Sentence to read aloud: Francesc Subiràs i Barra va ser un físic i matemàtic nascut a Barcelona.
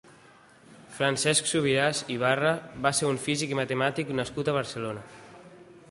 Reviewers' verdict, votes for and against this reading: rejected, 1, 2